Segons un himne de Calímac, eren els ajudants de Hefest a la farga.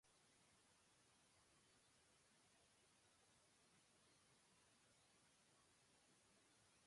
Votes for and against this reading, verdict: 0, 2, rejected